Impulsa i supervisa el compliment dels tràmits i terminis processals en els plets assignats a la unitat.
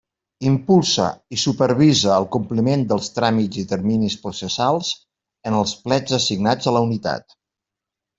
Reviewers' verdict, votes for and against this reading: accepted, 2, 0